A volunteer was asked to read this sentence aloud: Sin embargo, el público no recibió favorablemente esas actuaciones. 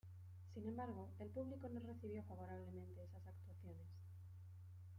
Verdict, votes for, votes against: rejected, 0, 2